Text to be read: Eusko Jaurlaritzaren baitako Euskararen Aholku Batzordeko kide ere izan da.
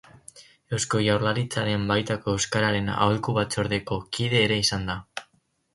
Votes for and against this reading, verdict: 4, 0, accepted